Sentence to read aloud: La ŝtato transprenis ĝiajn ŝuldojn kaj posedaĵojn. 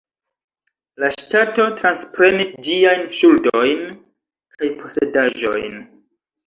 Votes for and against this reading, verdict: 0, 2, rejected